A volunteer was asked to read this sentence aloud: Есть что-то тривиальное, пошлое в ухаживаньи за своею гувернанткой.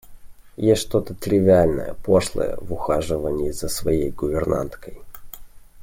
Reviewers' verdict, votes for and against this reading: accepted, 2, 0